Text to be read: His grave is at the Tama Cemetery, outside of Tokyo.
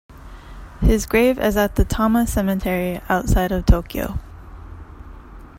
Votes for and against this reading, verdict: 2, 0, accepted